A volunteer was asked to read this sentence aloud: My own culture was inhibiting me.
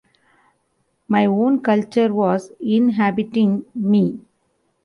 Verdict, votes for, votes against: accepted, 2, 0